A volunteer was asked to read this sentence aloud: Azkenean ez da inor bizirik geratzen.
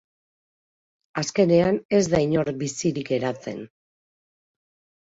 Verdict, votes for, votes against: accepted, 2, 0